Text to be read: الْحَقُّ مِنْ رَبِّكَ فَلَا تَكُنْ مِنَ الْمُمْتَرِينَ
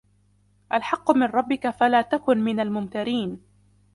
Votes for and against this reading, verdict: 2, 0, accepted